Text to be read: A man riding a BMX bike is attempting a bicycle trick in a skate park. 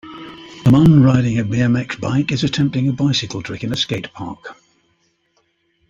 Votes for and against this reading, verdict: 2, 0, accepted